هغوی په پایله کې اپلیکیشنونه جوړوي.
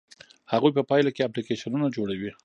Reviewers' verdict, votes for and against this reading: rejected, 0, 2